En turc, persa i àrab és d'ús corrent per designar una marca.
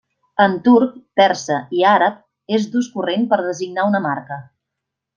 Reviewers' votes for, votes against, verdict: 3, 0, accepted